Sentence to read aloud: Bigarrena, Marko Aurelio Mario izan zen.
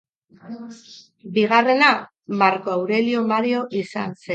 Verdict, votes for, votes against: rejected, 0, 2